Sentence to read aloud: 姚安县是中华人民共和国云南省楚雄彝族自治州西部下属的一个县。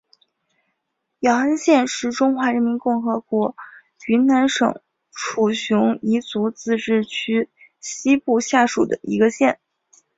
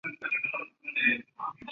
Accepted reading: first